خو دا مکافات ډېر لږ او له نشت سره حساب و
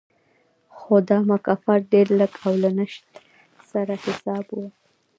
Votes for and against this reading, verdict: 2, 0, accepted